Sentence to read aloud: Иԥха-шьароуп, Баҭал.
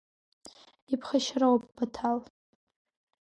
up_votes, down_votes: 4, 0